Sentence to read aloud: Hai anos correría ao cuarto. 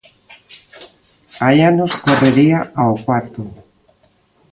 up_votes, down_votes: 3, 0